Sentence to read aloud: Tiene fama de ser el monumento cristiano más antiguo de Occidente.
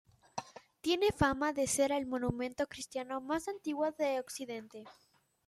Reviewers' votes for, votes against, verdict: 2, 0, accepted